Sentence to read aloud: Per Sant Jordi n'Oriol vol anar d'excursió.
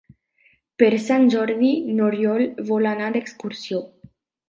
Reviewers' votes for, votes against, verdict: 4, 0, accepted